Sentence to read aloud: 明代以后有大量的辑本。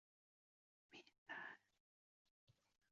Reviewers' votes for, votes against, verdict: 3, 5, rejected